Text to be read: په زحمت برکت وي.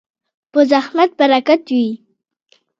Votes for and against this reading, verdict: 1, 2, rejected